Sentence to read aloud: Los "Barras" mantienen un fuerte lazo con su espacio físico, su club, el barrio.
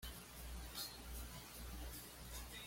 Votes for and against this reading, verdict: 1, 2, rejected